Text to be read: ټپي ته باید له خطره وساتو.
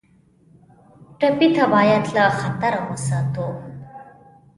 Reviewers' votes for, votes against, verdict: 2, 0, accepted